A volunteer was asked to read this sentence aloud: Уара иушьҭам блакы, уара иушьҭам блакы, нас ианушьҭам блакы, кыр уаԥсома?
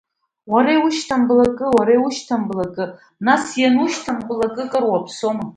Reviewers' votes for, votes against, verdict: 2, 1, accepted